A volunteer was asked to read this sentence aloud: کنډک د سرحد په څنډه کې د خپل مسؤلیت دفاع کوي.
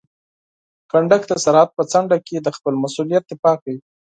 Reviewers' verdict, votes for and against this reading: accepted, 4, 0